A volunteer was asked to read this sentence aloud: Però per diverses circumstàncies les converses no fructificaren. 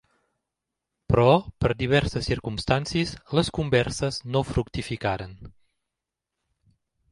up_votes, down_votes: 2, 0